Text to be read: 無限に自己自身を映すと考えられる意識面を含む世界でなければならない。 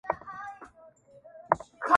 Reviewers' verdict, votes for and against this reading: rejected, 0, 2